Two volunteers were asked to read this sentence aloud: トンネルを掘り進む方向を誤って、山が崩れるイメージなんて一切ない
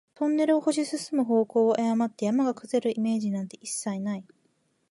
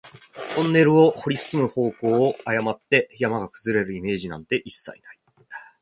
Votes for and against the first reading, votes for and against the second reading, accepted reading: 1, 2, 2, 0, second